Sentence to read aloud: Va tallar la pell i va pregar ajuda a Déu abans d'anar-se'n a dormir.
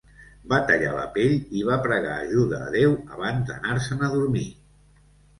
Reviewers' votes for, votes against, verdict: 2, 0, accepted